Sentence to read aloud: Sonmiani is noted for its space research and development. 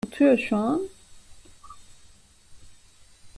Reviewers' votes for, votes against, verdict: 0, 2, rejected